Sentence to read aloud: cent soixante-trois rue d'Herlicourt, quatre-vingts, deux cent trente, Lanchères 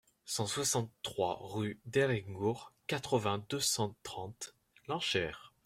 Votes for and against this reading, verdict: 0, 2, rejected